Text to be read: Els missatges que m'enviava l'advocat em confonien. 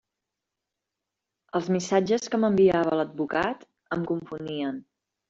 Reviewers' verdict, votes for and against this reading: accepted, 3, 0